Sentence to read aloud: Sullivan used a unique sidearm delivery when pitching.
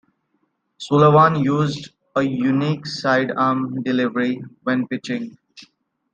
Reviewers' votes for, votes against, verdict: 2, 0, accepted